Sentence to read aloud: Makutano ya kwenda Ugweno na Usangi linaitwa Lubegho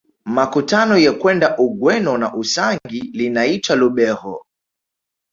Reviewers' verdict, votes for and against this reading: accepted, 2, 0